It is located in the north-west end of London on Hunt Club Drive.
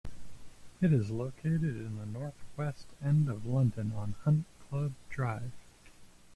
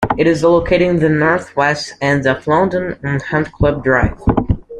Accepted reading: second